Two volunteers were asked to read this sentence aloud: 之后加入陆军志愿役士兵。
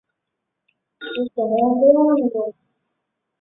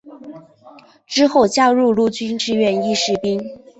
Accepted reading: second